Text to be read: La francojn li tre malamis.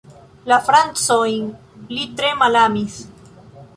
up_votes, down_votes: 2, 0